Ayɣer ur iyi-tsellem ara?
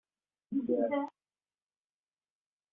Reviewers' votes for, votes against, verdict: 0, 2, rejected